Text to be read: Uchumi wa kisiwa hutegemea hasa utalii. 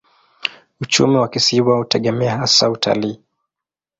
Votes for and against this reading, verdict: 2, 0, accepted